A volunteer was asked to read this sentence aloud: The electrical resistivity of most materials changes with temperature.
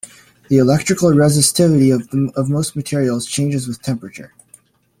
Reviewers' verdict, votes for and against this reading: rejected, 0, 2